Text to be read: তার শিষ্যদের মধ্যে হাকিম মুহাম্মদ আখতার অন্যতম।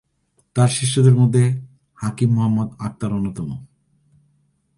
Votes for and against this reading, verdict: 2, 0, accepted